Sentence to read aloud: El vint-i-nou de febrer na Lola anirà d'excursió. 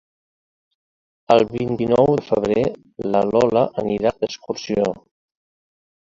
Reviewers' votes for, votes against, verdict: 1, 2, rejected